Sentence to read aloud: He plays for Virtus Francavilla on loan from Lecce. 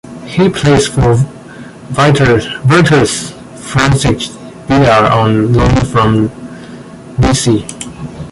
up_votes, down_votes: 0, 2